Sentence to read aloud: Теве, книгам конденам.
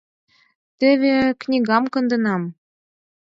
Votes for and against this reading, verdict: 4, 0, accepted